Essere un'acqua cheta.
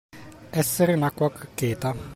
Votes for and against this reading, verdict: 1, 2, rejected